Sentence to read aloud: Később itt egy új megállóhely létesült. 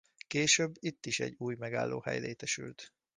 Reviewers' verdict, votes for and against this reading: rejected, 0, 2